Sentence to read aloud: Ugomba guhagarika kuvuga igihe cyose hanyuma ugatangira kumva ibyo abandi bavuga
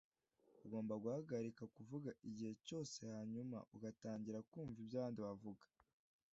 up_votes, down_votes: 2, 0